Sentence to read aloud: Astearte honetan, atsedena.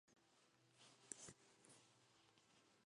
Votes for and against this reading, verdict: 0, 3, rejected